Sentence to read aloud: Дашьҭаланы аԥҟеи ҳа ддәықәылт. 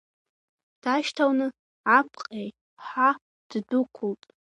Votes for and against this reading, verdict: 0, 2, rejected